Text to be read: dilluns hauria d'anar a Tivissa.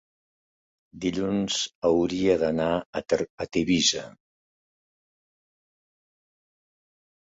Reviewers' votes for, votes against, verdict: 0, 2, rejected